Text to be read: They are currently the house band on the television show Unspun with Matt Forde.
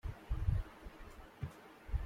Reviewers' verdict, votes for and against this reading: rejected, 0, 2